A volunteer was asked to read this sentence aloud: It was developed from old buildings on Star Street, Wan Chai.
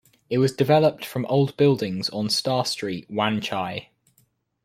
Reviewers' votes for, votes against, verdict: 2, 0, accepted